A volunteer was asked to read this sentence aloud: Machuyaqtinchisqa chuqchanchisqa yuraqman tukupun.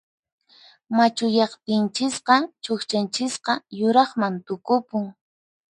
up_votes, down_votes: 4, 0